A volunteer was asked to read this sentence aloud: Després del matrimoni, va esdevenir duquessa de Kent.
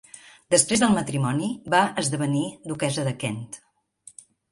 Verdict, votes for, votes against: accepted, 3, 0